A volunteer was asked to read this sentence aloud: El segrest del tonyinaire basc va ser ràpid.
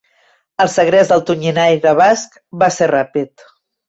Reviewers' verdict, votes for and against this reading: accepted, 2, 0